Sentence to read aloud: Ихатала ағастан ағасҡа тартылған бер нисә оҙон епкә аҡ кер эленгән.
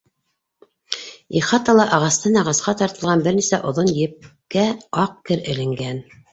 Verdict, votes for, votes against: accepted, 2, 0